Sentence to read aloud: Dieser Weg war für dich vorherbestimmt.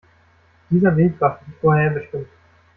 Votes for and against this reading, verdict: 0, 2, rejected